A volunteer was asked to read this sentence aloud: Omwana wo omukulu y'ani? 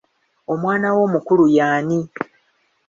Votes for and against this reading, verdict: 2, 0, accepted